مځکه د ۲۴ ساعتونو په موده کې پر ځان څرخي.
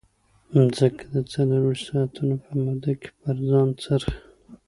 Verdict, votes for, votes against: rejected, 0, 2